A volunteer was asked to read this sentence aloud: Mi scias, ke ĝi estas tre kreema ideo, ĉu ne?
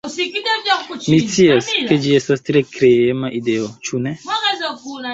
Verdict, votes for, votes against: rejected, 0, 2